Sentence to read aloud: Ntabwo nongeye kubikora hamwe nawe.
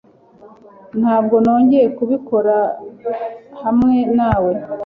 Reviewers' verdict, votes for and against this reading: accepted, 3, 0